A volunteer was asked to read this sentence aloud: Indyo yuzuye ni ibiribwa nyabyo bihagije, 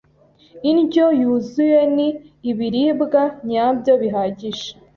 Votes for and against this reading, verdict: 2, 0, accepted